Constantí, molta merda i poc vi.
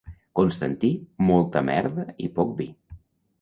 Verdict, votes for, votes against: accepted, 2, 0